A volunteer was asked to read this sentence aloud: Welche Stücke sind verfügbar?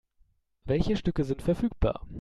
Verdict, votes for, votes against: accepted, 2, 0